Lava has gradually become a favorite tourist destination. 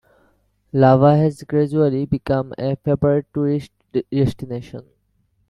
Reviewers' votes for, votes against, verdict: 2, 0, accepted